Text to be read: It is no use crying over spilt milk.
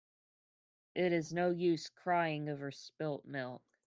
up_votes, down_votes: 2, 0